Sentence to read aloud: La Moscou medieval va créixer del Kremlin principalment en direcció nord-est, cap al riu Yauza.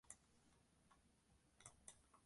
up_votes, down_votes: 0, 2